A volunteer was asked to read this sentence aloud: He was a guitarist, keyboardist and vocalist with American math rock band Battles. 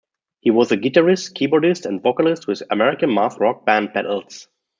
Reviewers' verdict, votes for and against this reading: accepted, 2, 0